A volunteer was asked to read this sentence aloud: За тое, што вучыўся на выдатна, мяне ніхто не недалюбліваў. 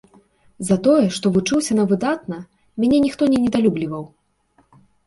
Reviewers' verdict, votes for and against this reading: accepted, 2, 0